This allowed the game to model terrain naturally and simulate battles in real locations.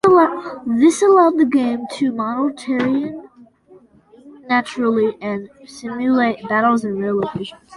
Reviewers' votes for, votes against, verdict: 1, 2, rejected